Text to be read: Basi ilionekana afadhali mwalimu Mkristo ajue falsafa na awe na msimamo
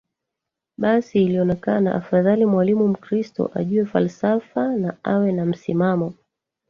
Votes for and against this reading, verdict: 0, 2, rejected